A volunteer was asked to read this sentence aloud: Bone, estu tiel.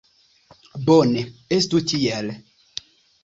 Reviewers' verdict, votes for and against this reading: accepted, 2, 0